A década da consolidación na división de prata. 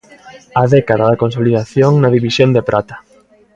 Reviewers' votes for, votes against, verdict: 2, 0, accepted